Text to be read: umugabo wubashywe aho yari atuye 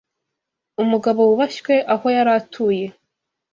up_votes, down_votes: 2, 0